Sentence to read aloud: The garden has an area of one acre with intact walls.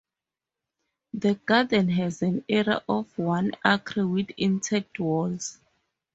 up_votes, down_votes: 2, 0